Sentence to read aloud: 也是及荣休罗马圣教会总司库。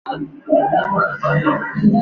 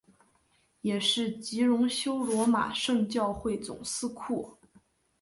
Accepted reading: second